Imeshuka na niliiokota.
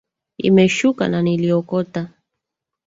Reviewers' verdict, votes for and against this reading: rejected, 1, 2